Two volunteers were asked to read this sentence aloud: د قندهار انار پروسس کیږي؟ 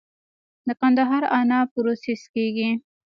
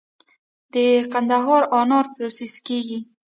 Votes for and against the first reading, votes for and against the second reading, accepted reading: 2, 0, 0, 2, first